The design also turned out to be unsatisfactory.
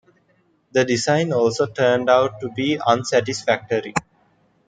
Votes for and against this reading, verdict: 2, 0, accepted